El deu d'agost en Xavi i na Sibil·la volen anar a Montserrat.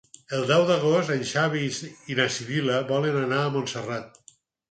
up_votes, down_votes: 2, 4